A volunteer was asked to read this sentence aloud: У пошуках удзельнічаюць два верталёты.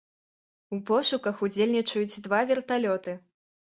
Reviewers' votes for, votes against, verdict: 2, 0, accepted